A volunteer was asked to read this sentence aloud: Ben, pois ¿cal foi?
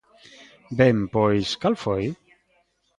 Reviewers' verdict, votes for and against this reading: accepted, 2, 0